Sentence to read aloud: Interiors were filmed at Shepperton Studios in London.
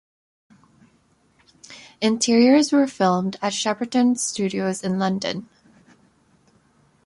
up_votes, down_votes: 2, 0